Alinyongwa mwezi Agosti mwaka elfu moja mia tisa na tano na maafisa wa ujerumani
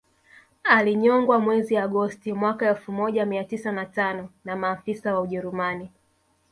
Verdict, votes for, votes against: accepted, 2, 0